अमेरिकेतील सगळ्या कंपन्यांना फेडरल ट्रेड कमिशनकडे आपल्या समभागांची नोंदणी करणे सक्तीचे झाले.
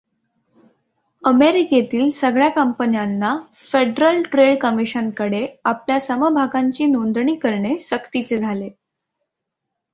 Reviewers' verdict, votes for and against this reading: accepted, 2, 0